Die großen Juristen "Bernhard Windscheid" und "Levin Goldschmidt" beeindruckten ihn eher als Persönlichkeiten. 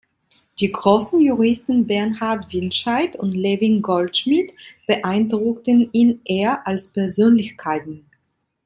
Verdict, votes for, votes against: accepted, 2, 1